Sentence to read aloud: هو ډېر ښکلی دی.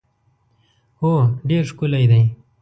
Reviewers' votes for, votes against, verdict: 2, 0, accepted